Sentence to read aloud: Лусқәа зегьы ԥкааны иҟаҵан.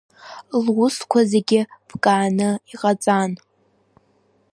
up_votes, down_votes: 1, 2